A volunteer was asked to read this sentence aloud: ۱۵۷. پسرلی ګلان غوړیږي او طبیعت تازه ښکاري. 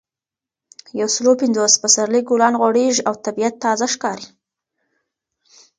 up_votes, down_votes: 0, 2